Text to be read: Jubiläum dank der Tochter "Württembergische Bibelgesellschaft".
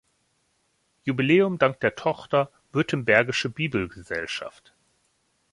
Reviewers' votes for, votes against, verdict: 2, 0, accepted